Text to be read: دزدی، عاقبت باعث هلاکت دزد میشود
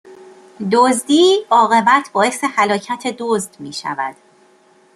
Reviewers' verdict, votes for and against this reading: accepted, 2, 0